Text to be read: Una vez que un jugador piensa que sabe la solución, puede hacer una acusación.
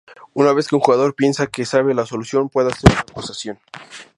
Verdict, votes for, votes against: rejected, 0, 2